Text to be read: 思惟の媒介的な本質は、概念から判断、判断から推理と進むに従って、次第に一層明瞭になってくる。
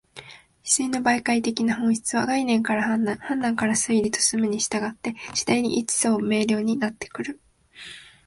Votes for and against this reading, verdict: 2, 0, accepted